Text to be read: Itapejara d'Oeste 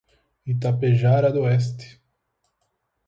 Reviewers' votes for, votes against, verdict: 4, 0, accepted